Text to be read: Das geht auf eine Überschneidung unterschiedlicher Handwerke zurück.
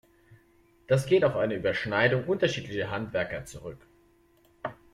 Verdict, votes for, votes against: rejected, 1, 2